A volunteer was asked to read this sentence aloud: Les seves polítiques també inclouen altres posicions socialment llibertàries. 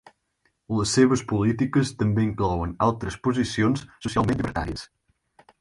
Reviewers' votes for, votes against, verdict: 0, 4, rejected